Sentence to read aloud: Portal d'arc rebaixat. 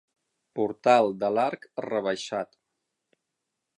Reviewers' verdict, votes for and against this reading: rejected, 3, 6